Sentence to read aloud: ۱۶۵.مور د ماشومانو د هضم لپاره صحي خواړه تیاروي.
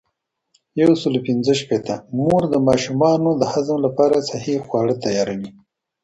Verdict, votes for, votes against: rejected, 0, 2